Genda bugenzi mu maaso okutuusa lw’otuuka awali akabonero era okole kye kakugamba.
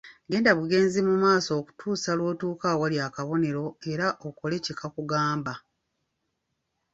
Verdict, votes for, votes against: accepted, 2, 0